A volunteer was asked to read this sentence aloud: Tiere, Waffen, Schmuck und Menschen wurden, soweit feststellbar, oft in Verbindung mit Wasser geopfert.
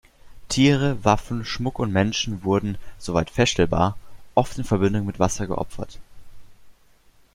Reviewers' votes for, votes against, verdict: 2, 0, accepted